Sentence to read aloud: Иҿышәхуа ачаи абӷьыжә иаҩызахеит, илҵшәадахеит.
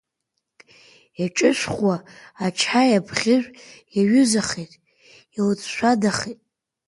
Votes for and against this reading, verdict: 2, 1, accepted